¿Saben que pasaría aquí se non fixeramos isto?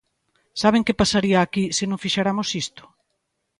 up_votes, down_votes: 1, 2